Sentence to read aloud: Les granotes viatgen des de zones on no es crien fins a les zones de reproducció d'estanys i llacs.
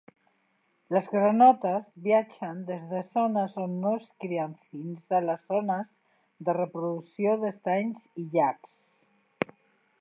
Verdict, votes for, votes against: rejected, 0, 2